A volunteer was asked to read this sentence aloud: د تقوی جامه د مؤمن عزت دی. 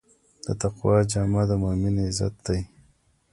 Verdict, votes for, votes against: accepted, 2, 1